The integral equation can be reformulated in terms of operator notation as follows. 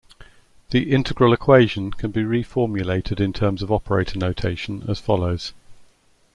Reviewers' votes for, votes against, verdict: 2, 0, accepted